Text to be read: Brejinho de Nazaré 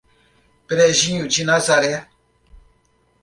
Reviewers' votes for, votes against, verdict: 2, 0, accepted